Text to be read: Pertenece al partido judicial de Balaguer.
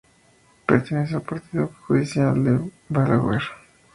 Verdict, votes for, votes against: rejected, 4, 4